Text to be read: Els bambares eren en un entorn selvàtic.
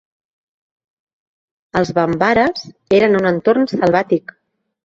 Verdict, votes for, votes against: accepted, 2, 0